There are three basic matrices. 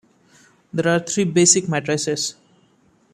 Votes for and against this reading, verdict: 2, 3, rejected